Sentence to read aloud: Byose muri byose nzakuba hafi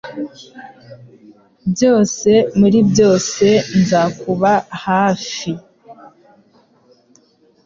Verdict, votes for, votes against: accepted, 2, 0